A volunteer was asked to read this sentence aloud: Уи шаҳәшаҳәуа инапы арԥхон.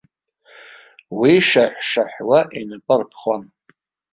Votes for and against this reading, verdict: 1, 2, rejected